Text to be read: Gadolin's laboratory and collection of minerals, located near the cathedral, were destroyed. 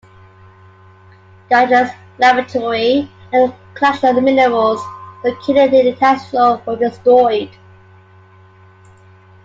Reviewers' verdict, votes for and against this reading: rejected, 1, 2